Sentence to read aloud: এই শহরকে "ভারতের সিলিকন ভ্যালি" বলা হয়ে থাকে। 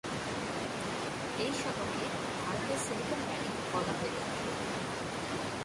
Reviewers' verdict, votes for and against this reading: rejected, 1, 2